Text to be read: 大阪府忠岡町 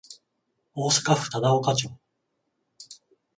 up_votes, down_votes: 14, 0